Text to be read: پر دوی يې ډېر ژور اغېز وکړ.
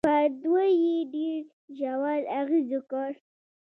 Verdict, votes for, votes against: accepted, 2, 0